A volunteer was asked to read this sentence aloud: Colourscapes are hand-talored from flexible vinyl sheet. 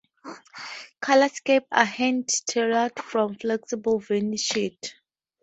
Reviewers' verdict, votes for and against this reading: rejected, 0, 2